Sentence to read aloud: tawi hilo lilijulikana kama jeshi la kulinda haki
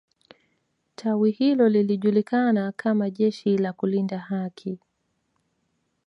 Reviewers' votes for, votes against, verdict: 2, 0, accepted